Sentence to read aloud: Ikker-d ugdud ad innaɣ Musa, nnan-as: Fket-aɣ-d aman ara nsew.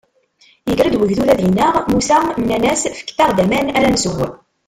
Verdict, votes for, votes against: rejected, 1, 2